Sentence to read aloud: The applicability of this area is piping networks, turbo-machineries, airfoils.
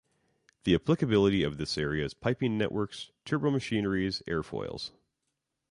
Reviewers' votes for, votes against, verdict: 2, 0, accepted